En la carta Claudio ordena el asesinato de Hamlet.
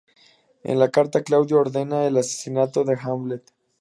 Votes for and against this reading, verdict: 2, 0, accepted